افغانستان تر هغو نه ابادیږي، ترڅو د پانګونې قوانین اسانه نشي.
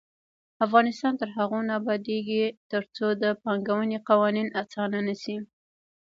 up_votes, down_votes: 1, 2